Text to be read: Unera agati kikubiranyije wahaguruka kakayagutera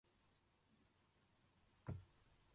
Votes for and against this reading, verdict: 0, 2, rejected